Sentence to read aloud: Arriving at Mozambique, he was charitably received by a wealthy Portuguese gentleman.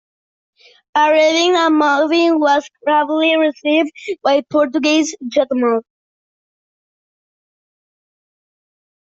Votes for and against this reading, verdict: 0, 2, rejected